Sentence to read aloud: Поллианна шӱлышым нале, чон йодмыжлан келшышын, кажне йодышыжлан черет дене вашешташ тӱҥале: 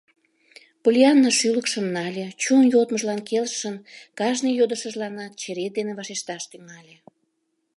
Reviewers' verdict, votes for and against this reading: rejected, 1, 2